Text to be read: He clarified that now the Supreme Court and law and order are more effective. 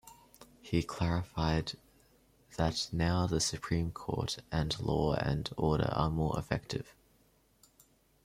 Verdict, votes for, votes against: rejected, 0, 2